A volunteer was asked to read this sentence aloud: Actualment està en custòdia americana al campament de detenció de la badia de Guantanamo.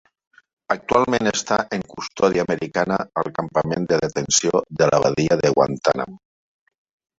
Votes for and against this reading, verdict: 2, 0, accepted